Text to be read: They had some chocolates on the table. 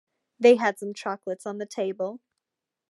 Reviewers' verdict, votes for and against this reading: accepted, 2, 0